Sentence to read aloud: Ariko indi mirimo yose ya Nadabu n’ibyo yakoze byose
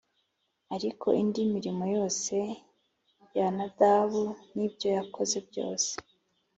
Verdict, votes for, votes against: accepted, 3, 0